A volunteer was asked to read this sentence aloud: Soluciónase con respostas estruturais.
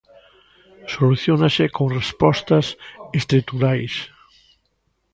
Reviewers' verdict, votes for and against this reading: rejected, 1, 2